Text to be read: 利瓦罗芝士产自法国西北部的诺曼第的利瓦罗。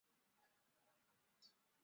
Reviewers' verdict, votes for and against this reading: rejected, 0, 4